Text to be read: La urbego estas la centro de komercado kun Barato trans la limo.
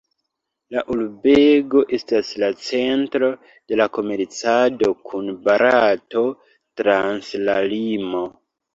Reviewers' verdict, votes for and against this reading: rejected, 0, 2